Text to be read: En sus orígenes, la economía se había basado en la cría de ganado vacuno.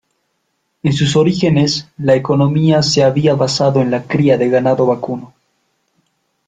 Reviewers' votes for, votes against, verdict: 2, 0, accepted